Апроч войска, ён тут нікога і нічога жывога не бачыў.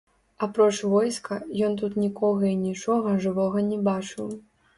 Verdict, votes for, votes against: rejected, 1, 2